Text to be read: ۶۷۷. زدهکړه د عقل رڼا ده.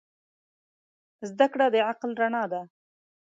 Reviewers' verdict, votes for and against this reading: rejected, 0, 2